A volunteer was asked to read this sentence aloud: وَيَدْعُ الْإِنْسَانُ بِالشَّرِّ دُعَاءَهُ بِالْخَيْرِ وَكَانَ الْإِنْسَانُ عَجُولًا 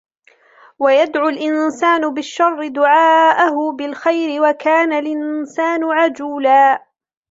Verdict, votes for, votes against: rejected, 1, 2